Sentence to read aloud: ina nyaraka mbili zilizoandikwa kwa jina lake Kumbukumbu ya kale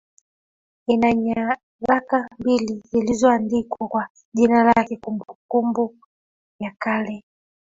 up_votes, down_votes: 0, 2